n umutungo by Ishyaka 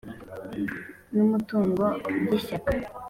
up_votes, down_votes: 2, 0